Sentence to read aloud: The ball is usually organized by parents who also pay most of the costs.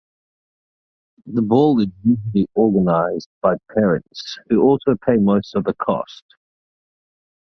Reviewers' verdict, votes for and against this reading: rejected, 1, 2